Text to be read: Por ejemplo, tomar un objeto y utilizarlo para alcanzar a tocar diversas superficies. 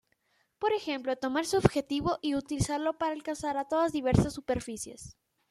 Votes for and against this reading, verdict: 0, 2, rejected